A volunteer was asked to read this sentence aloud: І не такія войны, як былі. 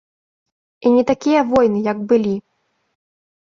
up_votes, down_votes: 3, 0